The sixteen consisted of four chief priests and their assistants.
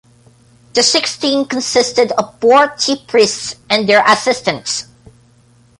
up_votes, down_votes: 2, 1